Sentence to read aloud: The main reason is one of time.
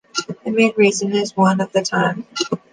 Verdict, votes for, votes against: rejected, 1, 2